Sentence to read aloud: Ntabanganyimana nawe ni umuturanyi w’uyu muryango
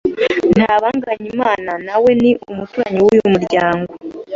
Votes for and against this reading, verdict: 2, 0, accepted